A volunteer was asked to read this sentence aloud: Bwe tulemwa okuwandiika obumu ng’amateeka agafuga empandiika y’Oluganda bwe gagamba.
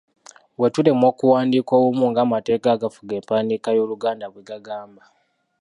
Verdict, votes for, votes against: rejected, 1, 2